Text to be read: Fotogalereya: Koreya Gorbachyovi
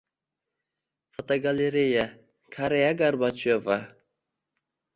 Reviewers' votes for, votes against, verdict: 1, 2, rejected